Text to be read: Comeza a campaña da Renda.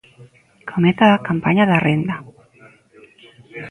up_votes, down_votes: 1, 2